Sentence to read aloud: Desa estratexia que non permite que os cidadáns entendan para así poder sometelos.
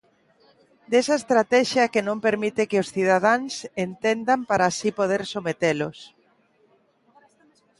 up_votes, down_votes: 2, 0